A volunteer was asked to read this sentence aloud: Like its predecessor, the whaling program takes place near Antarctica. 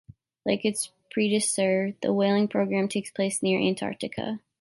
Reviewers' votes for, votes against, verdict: 1, 2, rejected